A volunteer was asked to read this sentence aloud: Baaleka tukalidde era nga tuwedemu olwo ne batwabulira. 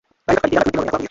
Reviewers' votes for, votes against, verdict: 0, 3, rejected